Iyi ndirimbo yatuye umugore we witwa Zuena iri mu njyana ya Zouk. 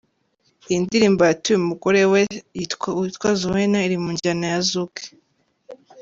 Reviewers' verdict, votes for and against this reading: rejected, 1, 2